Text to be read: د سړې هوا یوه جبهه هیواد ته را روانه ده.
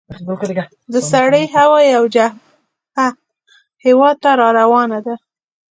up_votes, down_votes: 2, 0